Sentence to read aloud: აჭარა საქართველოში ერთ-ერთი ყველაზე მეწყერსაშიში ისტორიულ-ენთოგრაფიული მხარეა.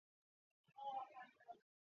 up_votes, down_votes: 0, 2